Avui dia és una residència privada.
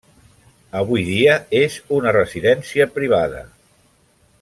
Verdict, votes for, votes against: accepted, 3, 0